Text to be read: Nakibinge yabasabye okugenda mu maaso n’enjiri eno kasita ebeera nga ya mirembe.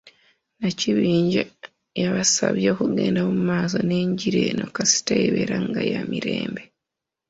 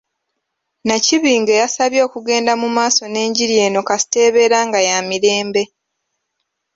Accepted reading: second